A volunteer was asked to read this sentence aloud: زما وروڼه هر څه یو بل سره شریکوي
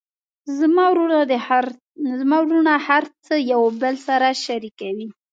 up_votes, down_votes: 1, 2